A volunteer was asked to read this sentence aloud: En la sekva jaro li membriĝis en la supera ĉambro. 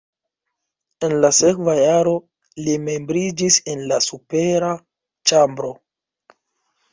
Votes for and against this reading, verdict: 1, 2, rejected